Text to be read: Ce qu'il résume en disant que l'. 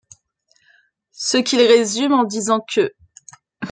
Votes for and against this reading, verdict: 2, 1, accepted